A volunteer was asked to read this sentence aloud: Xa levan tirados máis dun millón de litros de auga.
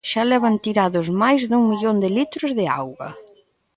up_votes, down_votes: 1, 2